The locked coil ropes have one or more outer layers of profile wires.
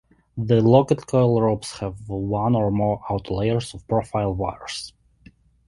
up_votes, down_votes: 0, 2